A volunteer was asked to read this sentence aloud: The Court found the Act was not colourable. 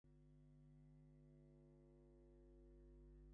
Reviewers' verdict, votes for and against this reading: rejected, 0, 2